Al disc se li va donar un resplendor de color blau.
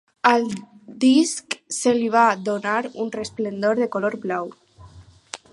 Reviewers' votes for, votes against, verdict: 4, 0, accepted